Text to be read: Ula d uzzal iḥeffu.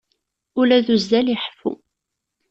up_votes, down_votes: 2, 0